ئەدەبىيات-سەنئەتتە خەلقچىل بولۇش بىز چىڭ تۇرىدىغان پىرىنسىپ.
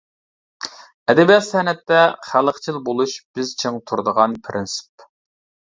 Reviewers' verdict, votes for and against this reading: accepted, 2, 0